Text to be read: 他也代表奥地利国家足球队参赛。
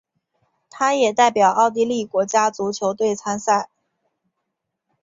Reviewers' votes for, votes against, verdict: 3, 0, accepted